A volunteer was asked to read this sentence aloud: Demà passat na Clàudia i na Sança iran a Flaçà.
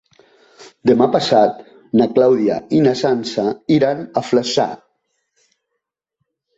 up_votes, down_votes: 2, 0